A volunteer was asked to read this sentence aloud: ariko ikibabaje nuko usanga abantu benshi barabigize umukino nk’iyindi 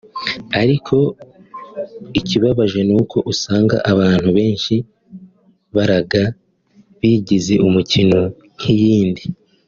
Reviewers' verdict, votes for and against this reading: rejected, 1, 2